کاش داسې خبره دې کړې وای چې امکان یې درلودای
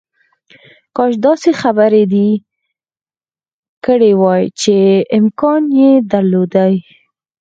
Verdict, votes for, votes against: accepted, 4, 0